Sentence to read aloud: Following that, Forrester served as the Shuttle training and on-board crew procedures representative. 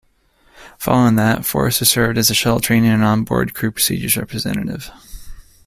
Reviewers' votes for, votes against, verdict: 1, 2, rejected